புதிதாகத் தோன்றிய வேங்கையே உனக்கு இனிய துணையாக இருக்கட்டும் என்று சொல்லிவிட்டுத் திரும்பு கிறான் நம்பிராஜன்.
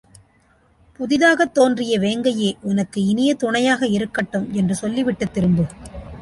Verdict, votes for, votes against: rejected, 0, 2